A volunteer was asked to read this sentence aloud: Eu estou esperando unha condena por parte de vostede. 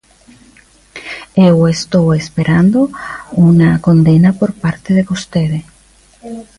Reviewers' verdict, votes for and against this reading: rejected, 0, 2